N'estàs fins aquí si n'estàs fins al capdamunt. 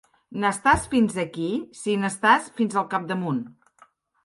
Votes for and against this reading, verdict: 2, 0, accepted